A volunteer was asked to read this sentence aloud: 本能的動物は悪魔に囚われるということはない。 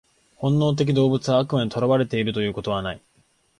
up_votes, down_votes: 1, 2